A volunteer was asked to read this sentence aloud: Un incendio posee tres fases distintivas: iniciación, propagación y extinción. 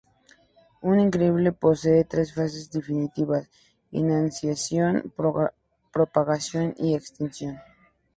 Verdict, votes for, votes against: rejected, 0, 2